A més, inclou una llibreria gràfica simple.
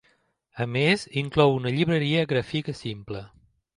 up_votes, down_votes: 1, 2